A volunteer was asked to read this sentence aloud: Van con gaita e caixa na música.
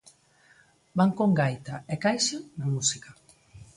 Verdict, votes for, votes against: accepted, 2, 0